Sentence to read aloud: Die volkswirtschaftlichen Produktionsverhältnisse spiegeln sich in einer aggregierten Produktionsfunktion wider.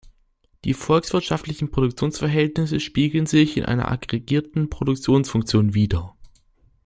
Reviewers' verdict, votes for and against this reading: accepted, 2, 0